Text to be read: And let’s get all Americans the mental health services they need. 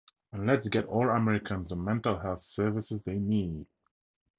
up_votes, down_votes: 2, 0